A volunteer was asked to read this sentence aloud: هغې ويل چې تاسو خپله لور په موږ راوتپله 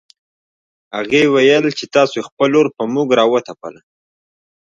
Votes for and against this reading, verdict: 0, 2, rejected